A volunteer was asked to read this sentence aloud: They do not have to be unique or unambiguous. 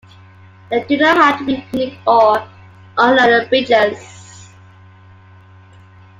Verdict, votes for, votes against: accepted, 2, 1